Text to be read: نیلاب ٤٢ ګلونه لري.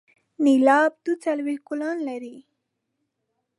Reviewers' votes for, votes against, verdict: 0, 2, rejected